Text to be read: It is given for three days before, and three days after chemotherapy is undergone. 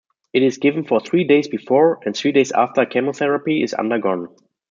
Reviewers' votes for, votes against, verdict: 2, 0, accepted